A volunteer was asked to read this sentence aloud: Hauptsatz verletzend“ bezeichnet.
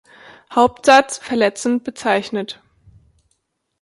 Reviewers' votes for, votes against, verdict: 2, 0, accepted